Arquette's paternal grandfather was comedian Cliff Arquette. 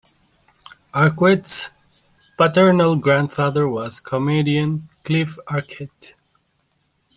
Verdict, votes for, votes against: rejected, 0, 2